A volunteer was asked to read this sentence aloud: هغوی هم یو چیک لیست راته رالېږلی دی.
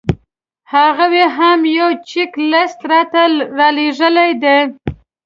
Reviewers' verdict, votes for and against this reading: rejected, 1, 2